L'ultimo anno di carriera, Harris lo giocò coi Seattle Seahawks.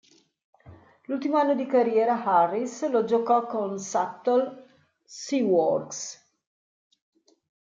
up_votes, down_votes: 1, 2